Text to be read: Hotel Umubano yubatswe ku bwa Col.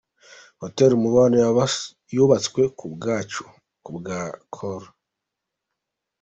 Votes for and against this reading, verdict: 0, 3, rejected